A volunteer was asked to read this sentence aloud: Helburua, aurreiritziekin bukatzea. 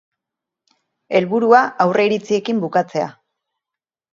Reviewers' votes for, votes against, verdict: 4, 0, accepted